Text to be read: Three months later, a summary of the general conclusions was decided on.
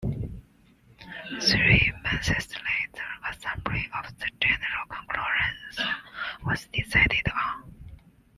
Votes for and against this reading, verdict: 2, 1, accepted